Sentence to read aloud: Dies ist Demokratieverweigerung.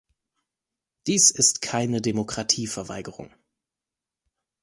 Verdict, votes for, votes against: rejected, 0, 2